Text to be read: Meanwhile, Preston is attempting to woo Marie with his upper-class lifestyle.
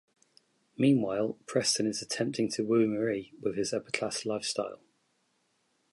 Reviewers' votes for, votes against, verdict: 2, 0, accepted